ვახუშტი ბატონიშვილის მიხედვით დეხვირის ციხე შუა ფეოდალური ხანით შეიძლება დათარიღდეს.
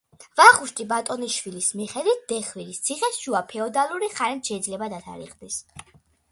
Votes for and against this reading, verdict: 2, 0, accepted